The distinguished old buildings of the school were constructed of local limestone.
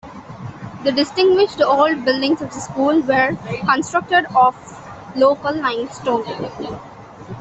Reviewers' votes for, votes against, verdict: 2, 1, accepted